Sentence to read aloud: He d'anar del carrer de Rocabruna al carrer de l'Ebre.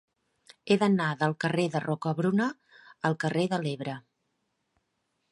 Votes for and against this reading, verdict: 3, 0, accepted